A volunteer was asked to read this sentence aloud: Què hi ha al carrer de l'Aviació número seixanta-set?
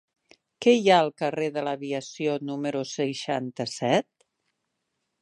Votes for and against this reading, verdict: 3, 0, accepted